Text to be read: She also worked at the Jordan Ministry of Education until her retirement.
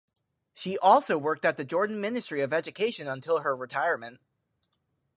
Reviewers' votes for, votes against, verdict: 6, 0, accepted